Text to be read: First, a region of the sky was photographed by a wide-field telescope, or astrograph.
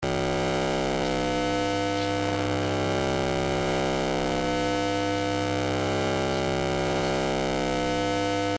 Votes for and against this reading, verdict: 0, 2, rejected